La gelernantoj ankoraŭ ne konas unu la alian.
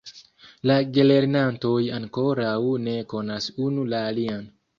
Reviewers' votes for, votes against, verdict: 1, 2, rejected